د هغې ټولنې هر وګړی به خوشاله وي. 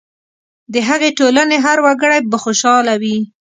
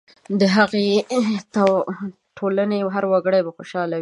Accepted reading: first